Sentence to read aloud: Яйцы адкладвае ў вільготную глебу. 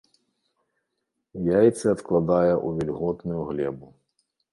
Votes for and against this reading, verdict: 1, 2, rejected